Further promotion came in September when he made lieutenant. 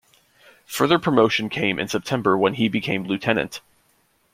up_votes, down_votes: 0, 2